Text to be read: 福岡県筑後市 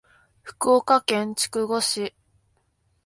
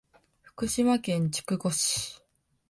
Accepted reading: first